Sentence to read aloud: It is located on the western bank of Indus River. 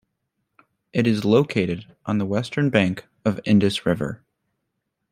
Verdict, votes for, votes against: accepted, 2, 0